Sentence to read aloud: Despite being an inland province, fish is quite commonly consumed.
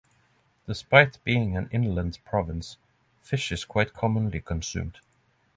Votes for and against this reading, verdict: 3, 0, accepted